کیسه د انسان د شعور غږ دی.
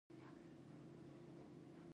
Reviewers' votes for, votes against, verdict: 1, 2, rejected